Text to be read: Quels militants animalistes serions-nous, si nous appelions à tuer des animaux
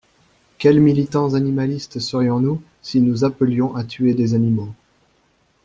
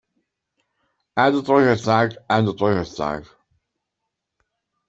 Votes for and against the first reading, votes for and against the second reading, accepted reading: 2, 0, 0, 2, first